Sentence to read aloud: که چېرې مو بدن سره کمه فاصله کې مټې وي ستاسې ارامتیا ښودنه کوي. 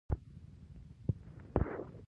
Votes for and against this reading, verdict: 0, 2, rejected